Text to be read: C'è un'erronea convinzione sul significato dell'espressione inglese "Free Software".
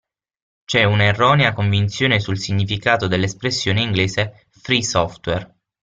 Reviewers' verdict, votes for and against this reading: accepted, 6, 0